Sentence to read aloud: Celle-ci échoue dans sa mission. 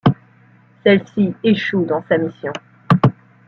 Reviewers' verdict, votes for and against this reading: rejected, 1, 2